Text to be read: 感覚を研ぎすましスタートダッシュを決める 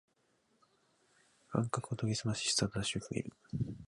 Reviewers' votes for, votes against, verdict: 3, 4, rejected